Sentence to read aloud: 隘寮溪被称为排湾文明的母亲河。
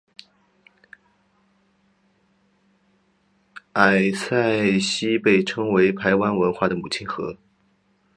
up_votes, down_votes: 1, 2